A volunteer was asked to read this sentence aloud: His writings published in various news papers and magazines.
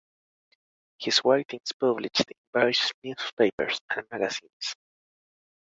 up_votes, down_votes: 1, 2